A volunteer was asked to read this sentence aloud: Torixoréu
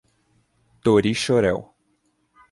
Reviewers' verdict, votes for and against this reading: accepted, 2, 0